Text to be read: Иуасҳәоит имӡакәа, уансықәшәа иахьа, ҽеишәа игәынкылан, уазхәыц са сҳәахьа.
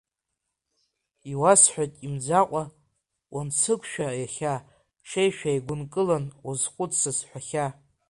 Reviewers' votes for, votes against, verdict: 0, 2, rejected